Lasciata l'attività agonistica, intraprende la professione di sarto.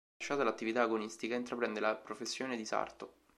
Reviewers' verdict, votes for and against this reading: rejected, 0, 2